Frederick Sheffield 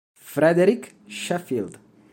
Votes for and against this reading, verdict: 2, 0, accepted